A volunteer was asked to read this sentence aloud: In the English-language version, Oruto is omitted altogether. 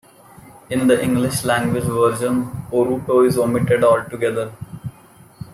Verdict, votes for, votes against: rejected, 0, 2